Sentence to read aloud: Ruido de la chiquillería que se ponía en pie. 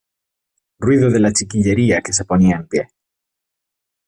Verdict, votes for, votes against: accepted, 2, 0